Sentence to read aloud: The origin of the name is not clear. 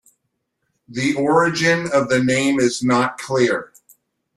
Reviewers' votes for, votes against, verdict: 2, 0, accepted